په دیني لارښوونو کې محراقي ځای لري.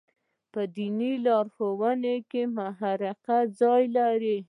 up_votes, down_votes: 2, 0